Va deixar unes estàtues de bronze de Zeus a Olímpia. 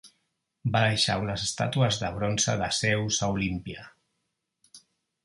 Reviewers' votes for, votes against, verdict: 2, 0, accepted